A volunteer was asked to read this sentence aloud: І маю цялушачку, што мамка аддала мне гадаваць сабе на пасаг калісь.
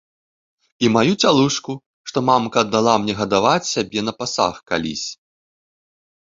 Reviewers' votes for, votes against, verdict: 0, 2, rejected